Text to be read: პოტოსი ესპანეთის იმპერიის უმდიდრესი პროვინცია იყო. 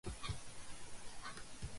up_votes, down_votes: 0, 2